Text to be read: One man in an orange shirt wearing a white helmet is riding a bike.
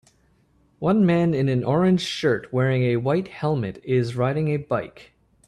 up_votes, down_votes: 4, 0